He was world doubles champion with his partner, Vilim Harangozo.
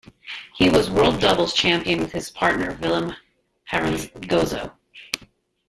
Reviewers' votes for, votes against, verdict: 2, 1, accepted